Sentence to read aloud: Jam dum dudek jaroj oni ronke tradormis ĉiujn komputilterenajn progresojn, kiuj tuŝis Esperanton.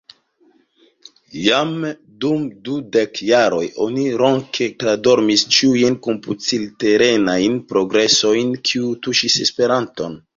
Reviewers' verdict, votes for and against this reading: rejected, 0, 2